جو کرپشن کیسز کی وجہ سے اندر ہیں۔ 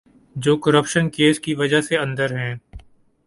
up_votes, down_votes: 4, 0